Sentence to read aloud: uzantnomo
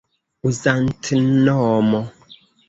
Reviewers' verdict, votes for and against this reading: rejected, 0, 2